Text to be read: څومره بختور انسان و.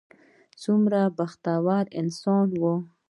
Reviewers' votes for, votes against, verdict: 2, 1, accepted